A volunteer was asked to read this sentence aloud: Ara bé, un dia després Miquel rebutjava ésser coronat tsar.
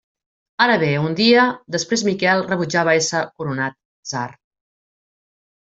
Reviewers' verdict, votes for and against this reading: rejected, 0, 2